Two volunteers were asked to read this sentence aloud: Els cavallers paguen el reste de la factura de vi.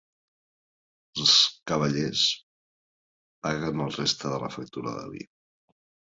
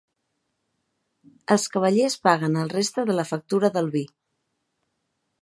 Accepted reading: first